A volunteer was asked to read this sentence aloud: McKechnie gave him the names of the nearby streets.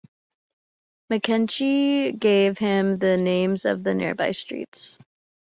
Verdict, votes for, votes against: accepted, 2, 0